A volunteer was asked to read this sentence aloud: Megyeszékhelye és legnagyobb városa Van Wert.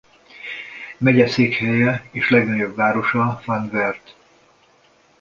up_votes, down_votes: 1, 2